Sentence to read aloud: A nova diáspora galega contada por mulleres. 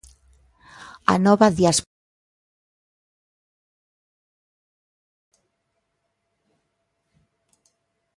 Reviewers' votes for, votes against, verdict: 0, 2, rejected